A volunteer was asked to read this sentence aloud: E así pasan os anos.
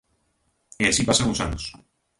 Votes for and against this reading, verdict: 2, 0, accepted